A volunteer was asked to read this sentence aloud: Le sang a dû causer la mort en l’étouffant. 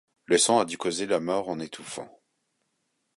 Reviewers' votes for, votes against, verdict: 1, 2, rejected